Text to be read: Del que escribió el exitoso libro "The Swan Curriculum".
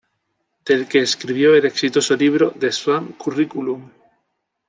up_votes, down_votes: 2, 0